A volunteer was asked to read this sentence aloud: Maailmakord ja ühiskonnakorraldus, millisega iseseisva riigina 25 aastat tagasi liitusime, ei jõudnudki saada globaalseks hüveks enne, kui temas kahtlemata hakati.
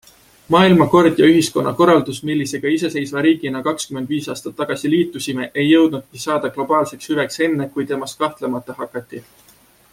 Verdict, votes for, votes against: rejected, 0, 2